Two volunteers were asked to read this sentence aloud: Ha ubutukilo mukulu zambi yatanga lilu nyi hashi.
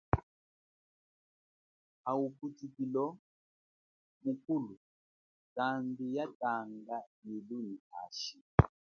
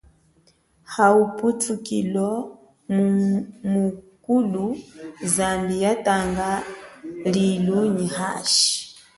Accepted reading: first